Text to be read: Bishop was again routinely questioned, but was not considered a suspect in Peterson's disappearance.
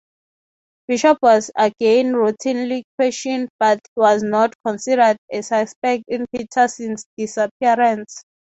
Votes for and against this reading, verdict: 3, 0, accepted